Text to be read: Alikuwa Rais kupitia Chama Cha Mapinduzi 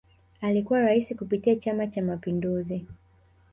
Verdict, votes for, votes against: rejected, 1, 2